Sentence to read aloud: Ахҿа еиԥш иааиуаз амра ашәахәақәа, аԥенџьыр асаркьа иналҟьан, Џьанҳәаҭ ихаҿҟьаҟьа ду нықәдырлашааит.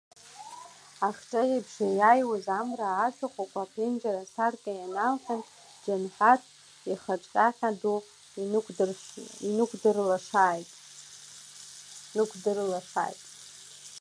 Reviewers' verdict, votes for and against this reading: rejected, 0, 3